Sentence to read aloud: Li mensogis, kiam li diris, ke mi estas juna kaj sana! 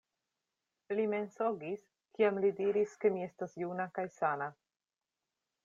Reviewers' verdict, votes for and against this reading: accepted, 2, 0